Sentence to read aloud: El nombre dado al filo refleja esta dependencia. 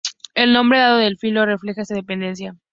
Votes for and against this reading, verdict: 2, 0, accepted